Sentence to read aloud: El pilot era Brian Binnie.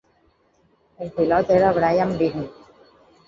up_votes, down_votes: 0, 4